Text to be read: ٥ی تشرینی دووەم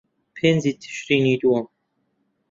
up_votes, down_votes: 0, 2